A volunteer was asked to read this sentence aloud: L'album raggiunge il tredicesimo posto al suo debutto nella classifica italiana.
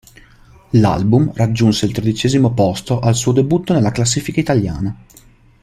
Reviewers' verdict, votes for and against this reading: rejected, 0, 2